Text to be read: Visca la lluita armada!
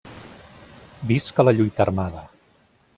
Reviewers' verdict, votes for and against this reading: accepted, 2, 0